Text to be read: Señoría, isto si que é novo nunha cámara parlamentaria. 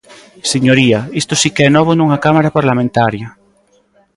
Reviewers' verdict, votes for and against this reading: accepted, 2, 0